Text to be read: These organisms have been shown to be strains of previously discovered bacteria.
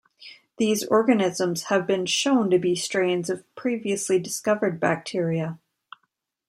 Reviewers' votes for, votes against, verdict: 2, 0, accepted